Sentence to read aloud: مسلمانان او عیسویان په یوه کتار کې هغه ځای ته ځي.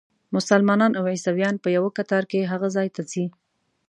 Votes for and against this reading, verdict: 2, 0, accepted